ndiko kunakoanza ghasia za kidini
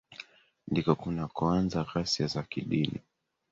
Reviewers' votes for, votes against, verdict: 3, 1, accepted